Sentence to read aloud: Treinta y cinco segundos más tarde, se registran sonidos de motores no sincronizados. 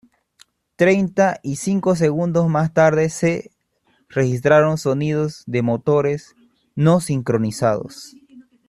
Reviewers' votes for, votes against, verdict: 0, 2, rejected